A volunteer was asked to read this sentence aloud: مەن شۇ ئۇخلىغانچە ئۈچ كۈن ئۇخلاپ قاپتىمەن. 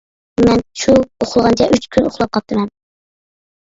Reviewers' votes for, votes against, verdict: 2, 1, accepted